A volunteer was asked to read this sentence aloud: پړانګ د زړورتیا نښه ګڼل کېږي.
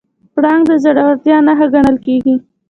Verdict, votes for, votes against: accepted, 2, 0